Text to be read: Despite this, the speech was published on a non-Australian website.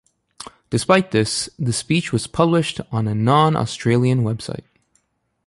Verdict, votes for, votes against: accepted, 2, 0